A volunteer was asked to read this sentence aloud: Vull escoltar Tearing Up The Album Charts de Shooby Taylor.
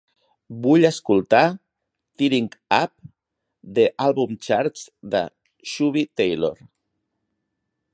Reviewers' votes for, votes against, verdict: 2, 0, accepted